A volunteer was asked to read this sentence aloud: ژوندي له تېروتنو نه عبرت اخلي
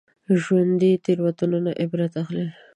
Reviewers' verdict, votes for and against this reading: accepted, 2, 1